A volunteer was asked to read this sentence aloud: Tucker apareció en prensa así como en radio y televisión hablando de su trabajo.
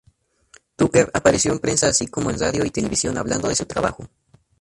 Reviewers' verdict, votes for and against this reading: rejected, 0, 2